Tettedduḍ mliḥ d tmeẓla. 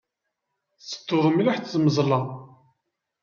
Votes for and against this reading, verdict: 2, 0, accepted